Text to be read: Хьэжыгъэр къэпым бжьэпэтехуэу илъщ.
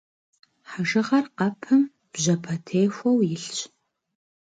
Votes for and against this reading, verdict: 2, 0, accepted